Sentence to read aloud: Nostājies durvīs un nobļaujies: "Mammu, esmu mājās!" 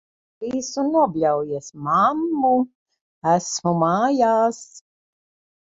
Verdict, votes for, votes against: rejected, 0, 2